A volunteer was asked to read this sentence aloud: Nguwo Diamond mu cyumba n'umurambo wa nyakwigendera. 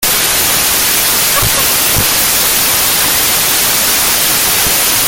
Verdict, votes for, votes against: rejected, 0, 2